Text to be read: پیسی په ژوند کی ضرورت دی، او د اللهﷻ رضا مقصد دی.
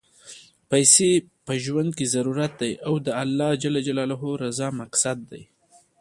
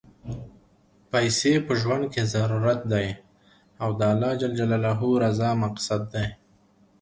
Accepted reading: second